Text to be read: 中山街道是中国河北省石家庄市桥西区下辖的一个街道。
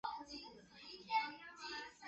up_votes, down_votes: 0, 4